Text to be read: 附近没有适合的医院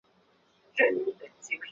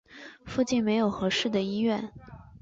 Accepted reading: second